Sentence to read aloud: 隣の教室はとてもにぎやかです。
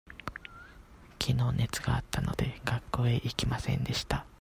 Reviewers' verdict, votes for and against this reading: rejected, 0, 2